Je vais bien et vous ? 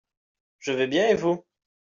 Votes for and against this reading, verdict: 2, 0, accepted